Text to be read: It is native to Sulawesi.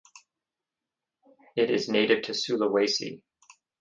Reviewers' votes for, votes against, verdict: 6, 0, accepted